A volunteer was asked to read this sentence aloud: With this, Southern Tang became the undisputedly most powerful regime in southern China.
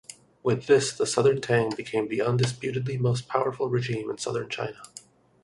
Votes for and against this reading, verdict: 2, 0, accepted